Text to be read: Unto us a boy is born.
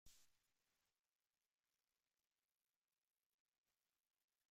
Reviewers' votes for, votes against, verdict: 0, 2, rejected